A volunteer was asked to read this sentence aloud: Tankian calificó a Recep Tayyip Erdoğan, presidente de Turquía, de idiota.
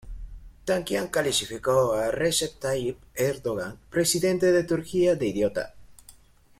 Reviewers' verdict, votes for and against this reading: rejected, 1, 2